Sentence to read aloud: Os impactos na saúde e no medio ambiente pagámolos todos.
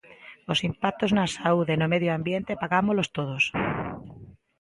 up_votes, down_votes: 2, 0